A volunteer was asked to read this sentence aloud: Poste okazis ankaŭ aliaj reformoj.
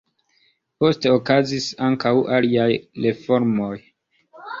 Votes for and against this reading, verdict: 2, 1, accepted